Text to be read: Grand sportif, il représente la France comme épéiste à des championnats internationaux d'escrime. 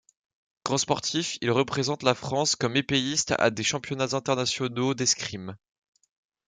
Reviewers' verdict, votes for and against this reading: rejected, 0, 2